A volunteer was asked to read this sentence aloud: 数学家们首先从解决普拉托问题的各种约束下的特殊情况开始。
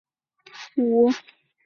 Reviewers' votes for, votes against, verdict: 0, 4, rejected